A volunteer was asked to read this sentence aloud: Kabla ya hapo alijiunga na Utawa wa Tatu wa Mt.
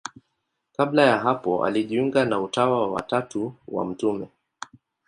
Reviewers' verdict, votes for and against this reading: rejected, 0, 2